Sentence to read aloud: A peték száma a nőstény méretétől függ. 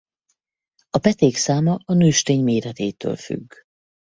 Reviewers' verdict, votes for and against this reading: accepted, 4, 0